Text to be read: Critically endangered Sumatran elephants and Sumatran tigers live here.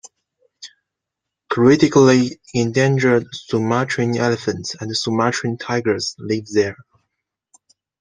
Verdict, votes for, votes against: rejected, 0, 2